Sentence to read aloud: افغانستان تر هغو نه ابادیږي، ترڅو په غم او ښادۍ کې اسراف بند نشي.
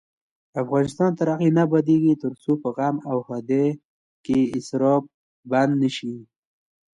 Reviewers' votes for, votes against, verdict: 2, 0, accepted